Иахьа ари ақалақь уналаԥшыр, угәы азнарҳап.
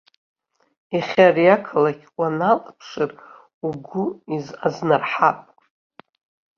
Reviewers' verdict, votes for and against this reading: rejected, 0, 2